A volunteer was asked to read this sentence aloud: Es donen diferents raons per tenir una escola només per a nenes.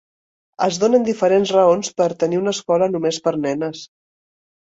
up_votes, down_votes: 0, 2